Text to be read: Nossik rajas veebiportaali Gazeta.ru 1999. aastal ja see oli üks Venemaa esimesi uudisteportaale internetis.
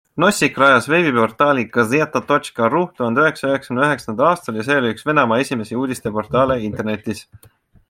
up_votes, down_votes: 0, 2